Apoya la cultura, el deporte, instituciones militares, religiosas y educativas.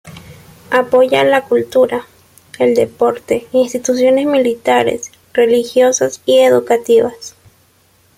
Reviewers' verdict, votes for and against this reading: accepted, 2, 0